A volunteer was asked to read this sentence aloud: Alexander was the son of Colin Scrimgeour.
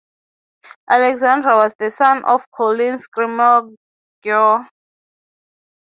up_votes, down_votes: 0, 3